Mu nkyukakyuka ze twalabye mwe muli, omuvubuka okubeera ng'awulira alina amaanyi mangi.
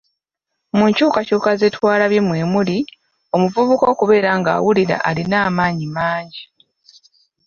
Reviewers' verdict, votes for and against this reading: accepted, 2, 0